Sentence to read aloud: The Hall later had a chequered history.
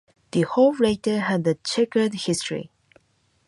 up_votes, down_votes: 2, 0